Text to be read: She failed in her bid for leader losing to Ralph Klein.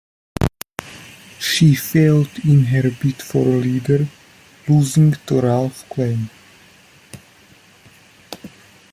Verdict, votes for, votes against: accepted, 2, 1